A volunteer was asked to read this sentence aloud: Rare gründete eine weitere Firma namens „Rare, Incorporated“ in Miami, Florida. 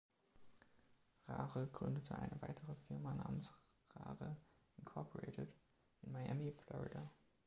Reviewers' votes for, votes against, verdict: 1, 2, rejected